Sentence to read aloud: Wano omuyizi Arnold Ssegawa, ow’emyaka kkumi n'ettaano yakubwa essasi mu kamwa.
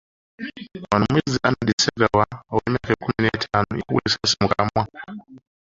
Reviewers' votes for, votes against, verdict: 2, 1, accepted